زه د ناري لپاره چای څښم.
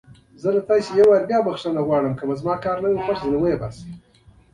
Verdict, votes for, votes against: rejected, 1, 2